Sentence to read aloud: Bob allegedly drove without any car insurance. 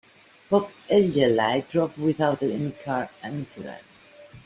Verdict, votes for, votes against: rejected, 1, 2